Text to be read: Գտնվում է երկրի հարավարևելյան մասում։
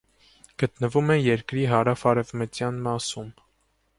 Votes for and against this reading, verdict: 0, 2, rejected